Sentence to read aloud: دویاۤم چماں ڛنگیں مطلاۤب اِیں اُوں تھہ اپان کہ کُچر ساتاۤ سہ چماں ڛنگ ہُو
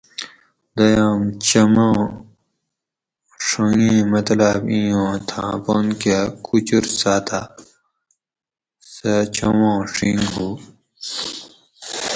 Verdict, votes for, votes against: rejected, 0, 4